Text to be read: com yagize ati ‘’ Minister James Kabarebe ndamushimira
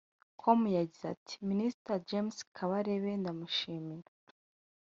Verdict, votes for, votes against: rejected, 1, 2